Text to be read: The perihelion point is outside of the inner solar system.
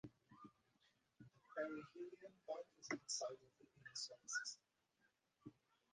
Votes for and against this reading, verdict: 0, 4, rejected